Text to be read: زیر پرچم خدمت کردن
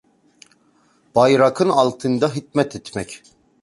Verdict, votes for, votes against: rejected, 0, 2